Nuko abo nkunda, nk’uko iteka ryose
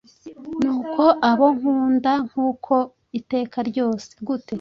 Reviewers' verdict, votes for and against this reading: rejected, 1, 2